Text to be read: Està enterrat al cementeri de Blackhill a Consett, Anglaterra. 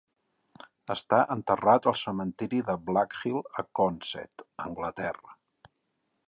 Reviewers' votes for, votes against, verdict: 3, 0, accepted